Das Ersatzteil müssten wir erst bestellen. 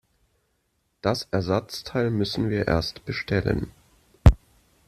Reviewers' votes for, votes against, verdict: 3, 0, accepted